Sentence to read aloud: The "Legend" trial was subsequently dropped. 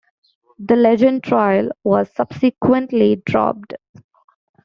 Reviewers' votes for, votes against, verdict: 2, 0, accepted